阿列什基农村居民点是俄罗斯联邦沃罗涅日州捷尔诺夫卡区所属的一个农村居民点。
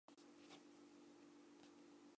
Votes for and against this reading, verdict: 0, 3, rejected